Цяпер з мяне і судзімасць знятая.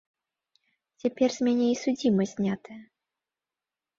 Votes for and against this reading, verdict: 2, 0, accepted